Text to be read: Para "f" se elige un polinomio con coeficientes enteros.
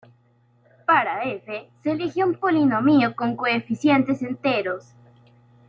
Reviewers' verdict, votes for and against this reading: rejected, 0, 2